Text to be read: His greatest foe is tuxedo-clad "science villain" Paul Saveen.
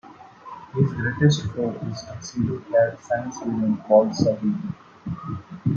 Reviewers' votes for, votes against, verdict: 0, 2, rejected